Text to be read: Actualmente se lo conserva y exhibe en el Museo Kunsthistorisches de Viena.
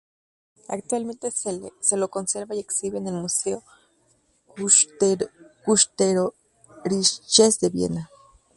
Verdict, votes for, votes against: rejected, 2, 4